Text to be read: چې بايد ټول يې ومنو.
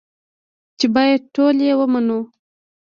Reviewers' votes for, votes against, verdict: 1, 2, rejected